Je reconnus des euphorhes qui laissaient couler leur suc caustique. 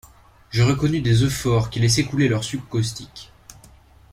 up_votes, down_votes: 2, 0